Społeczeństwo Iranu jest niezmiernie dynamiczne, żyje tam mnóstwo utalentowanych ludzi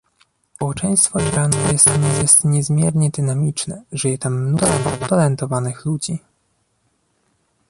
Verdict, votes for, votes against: rejected, 0, 2